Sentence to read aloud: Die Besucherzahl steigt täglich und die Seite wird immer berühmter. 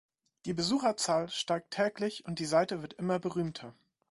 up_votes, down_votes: 2, 0